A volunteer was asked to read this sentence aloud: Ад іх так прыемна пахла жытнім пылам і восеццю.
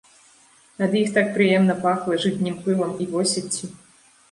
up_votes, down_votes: 1, 2